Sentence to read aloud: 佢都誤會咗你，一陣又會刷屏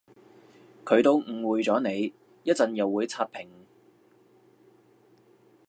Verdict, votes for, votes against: accepted, 2, 0